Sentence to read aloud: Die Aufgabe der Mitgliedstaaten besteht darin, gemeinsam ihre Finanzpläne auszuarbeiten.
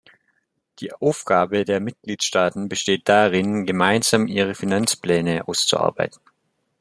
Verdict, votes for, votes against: accepted, 2, 0